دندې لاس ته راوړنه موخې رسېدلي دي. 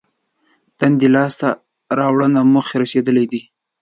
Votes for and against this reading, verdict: 2, 0, accepted